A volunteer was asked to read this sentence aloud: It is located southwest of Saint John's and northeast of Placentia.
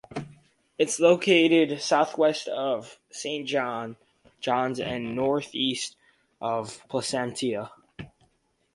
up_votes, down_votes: 2, 2